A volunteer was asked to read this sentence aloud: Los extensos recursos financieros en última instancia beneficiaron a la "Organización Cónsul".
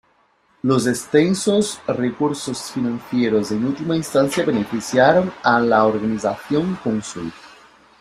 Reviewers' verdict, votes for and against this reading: accepted, 2, 0